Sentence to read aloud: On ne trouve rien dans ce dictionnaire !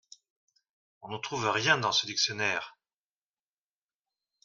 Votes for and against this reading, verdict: 2, 0, accepted